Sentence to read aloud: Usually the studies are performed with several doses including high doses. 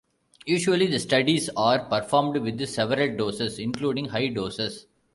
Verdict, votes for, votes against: rejected, 0, 2